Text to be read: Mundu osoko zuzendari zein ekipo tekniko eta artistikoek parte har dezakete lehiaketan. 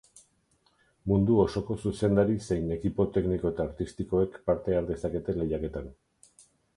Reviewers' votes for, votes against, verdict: 4, 0, accepted